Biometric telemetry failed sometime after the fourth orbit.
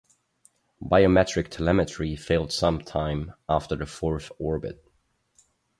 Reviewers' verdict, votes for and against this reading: accepted, 10, 0